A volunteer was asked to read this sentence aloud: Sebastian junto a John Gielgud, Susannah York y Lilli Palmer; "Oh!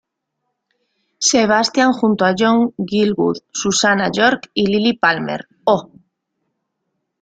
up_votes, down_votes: 2, 0